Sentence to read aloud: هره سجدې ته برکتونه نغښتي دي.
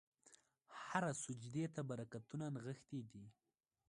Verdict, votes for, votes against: accepted, 2, 0